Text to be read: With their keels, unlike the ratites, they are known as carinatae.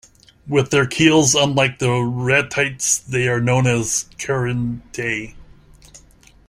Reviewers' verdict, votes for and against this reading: rejected, 0, 2